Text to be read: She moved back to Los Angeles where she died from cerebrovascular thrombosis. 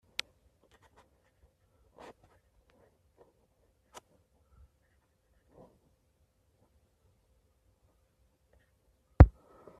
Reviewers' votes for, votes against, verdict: 0, 2, rejected